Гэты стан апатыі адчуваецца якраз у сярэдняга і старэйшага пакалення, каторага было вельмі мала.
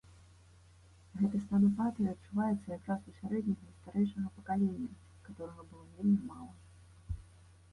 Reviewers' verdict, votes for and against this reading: rejected, 1, 2